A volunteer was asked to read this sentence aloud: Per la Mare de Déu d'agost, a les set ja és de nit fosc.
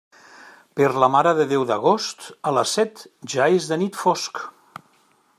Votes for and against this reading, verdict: 3, 0, accepted